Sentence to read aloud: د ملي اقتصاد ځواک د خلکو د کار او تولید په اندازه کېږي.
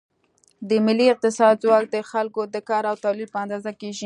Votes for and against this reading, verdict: 2, 0, accepted